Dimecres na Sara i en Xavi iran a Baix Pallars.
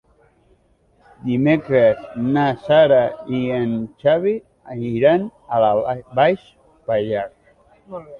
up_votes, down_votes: 1, 2